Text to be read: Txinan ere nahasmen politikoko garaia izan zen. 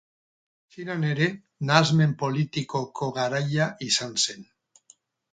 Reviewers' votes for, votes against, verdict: 2, 2, rejected